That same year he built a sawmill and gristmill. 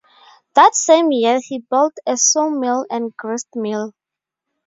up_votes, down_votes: 0, 2